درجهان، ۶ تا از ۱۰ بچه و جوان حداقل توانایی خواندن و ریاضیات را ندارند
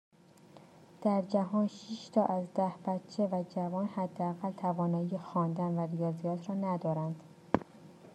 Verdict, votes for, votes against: rejected, 0, 2